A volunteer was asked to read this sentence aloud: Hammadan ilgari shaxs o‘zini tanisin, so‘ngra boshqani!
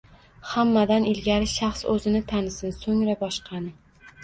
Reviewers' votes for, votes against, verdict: 2, 0, accepted